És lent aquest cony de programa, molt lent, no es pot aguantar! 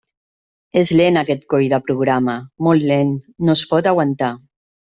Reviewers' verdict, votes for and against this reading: rejected, 0, 2